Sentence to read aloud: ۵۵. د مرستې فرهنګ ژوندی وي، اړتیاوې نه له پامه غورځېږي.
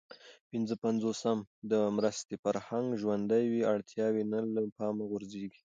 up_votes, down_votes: 0, 2